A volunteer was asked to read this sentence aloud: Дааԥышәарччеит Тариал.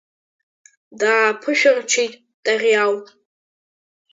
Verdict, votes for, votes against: accepted, 2, 1